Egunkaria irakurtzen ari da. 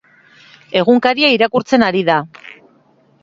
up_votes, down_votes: 3, 0